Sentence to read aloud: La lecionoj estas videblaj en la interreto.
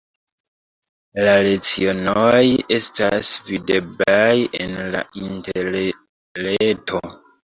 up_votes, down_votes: 0, 2